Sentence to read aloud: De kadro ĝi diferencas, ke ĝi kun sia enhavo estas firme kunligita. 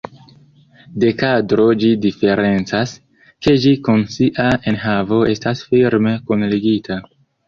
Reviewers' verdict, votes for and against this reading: rejected, 0, 2